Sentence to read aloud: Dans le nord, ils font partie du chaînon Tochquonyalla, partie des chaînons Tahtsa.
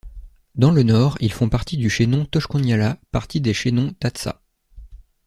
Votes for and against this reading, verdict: 2, 0, accepted